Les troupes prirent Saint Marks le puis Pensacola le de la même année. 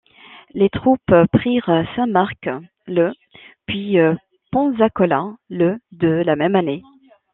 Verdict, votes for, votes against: rejected, 1, 2